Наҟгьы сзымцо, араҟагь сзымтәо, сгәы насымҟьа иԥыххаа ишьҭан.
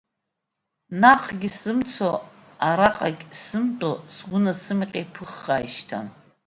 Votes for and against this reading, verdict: 2, 0, accepted